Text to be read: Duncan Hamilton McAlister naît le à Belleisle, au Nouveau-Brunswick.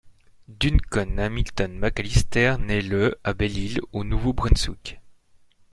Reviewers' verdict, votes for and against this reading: rejected, 0, 2